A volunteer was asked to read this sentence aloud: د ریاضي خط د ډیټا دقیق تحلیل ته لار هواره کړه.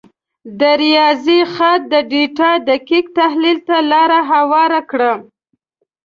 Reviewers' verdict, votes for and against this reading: rejected, 1, 2